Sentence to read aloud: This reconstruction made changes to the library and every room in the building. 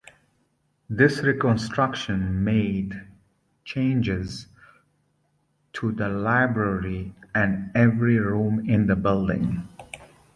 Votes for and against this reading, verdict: 2, 0, accepted